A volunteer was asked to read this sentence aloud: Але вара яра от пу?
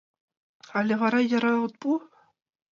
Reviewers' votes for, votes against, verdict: 2, 0, accepted